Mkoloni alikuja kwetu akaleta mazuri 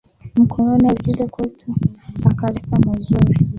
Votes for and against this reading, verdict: 2, 1, accepted